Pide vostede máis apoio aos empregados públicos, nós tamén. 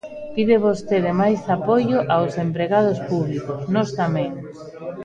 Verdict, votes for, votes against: accepted, 2, 1